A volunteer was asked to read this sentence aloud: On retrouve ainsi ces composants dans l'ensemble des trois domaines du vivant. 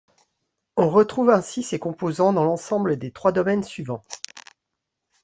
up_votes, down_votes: 1, 2